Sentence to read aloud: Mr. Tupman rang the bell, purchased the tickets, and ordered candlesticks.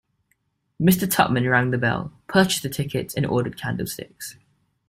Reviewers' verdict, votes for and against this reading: accepted, 2, 1